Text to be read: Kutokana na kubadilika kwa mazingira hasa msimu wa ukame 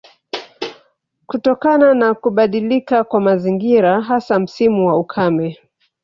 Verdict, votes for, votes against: accepted, 2, 0